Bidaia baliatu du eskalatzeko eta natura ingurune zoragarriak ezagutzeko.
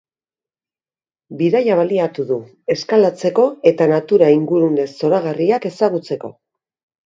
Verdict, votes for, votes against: accepted, 2, 0